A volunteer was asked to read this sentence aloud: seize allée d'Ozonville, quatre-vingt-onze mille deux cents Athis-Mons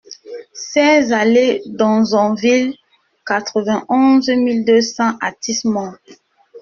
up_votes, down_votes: 1, 2